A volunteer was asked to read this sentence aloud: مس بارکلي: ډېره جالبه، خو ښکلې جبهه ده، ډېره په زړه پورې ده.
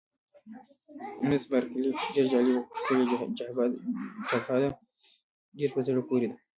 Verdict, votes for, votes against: rejected, 1, 2